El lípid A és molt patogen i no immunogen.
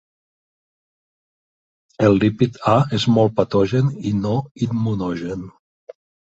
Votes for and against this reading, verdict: 3, 0, accepted